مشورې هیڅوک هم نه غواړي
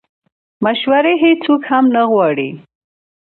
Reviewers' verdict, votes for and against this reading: accepted, 2, 0